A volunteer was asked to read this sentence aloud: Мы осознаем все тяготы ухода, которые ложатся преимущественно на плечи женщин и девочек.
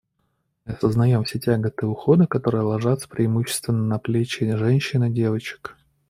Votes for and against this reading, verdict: 1, 2, rejected